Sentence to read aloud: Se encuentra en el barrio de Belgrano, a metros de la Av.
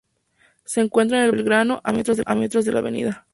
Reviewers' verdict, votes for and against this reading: rejected, 0, 2